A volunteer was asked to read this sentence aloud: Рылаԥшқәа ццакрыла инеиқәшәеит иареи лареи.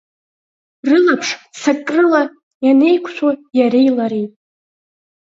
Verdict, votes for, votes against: accepted, 4, 0